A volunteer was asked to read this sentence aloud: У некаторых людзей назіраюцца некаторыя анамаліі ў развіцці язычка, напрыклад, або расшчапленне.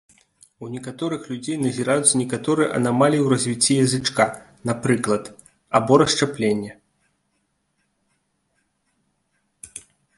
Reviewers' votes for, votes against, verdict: 2, 0, accepted